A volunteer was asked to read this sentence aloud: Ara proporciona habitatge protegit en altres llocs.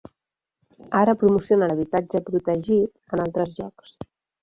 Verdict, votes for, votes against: rejected, 1, 6